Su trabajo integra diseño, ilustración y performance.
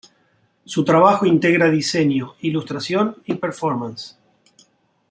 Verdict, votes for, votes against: accepted, 2, 0